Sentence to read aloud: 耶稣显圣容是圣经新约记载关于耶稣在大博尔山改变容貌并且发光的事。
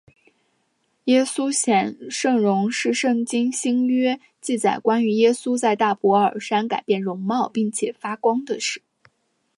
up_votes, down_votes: 2, 0